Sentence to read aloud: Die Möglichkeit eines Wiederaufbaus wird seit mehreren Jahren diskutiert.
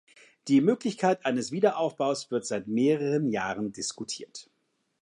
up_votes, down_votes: 2, 0